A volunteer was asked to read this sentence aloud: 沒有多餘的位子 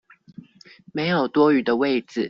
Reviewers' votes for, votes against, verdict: 2, 0, accepted